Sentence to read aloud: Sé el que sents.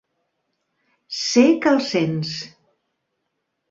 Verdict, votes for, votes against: rejected, 0, 2